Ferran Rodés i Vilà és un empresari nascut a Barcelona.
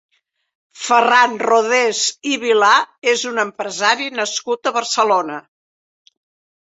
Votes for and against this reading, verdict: 3, 0, accepted